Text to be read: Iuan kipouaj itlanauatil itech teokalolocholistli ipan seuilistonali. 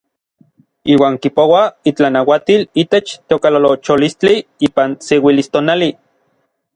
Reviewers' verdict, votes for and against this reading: accepted, 2, 0